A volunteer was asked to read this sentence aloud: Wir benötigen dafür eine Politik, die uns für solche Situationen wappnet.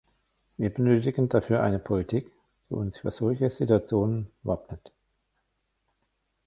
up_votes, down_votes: 1, 2